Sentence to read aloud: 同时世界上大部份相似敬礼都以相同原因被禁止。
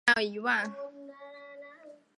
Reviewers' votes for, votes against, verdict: 1, 4, rejected